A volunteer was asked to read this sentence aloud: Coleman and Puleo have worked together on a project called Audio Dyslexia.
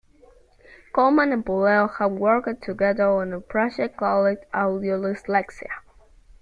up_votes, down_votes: 2, 0